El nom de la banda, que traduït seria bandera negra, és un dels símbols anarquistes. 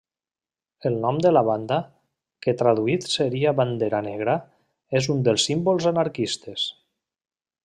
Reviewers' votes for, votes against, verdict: 3, 0, accepted